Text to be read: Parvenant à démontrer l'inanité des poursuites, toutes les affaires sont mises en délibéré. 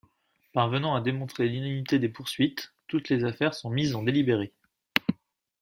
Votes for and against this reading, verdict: 2, 0, accepted